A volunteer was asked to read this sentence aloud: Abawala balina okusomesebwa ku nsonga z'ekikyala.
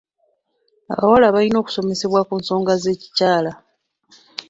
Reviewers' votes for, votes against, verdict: 2, 0, accepted